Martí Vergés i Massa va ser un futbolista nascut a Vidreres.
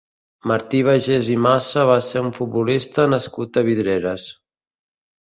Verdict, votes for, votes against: rejected, 1, 2